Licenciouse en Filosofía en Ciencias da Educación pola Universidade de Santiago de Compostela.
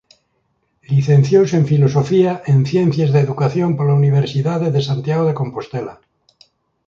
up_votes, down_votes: 2, 0